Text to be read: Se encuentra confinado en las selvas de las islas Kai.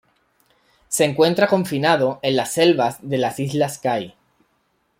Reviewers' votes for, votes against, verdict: 2, 0, accepted